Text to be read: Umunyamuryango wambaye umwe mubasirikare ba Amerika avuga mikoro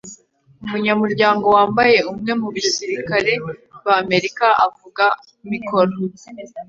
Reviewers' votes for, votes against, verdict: 2, 0, accepted